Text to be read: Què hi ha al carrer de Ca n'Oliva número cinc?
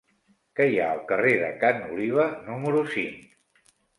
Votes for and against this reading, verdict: 4, 0, accepted